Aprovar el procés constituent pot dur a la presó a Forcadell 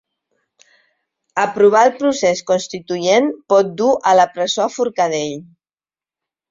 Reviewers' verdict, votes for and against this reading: rejected, 0, 2